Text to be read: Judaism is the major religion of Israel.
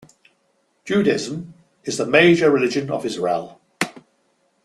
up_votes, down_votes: 1, 2